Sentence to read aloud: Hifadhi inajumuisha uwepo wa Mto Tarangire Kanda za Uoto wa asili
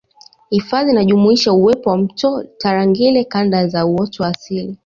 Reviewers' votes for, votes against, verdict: 4, 1, accepted